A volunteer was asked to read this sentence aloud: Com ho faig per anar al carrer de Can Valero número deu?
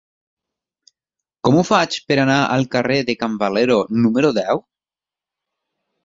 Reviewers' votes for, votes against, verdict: 1, 2, rejected